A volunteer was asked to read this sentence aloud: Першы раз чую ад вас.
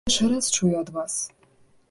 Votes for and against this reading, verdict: 0, 2, rejected